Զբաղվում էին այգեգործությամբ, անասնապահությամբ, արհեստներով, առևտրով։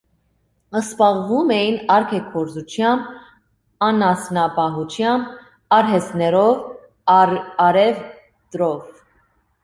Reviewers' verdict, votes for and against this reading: rejected, 0, 2